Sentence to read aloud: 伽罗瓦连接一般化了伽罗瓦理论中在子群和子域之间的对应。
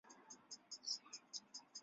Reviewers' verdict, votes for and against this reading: rejected, 3, 5